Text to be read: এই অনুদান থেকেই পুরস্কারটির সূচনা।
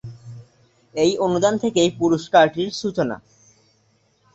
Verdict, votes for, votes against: accepted, 2, 0